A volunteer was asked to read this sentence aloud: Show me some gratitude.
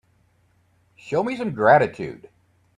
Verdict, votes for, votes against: accepted, 2, 0